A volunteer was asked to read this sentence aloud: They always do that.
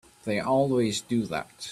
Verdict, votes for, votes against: accepted, 3, 0